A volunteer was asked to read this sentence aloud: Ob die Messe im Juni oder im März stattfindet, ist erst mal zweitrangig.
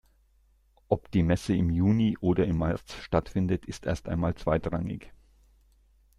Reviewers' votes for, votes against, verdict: 0, 2, rejected